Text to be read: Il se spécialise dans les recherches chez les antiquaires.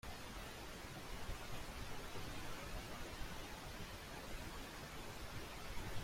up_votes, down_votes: 0, 2